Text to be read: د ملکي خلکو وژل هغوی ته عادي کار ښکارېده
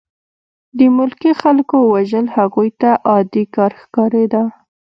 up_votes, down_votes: 2, 0